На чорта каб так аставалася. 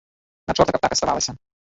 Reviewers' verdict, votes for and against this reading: rejected, 1, 2